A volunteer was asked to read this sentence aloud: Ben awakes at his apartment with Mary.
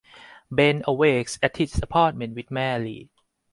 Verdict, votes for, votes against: accepted, 4, 0